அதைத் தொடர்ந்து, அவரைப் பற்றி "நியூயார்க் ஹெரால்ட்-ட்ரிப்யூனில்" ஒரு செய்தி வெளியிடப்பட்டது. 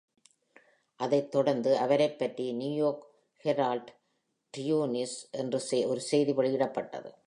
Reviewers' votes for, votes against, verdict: 1, 2, rejected